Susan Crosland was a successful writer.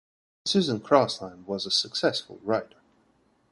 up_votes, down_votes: 2, 0